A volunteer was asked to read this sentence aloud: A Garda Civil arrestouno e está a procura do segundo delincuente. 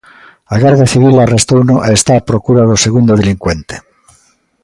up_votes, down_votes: 2, 0